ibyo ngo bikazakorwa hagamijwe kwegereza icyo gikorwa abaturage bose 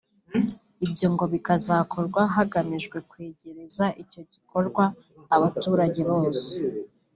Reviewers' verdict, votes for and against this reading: accepted, 2, 0